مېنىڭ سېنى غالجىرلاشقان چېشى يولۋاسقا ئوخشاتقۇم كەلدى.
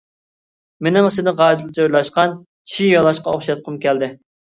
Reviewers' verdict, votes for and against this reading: rejected, 0, 2